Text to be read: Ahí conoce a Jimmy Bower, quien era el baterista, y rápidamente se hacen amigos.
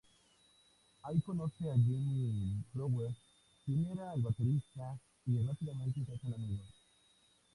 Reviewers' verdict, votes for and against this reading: rejected, 0, 4